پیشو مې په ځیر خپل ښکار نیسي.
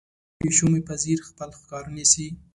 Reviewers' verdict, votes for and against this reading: accepted, 2, 1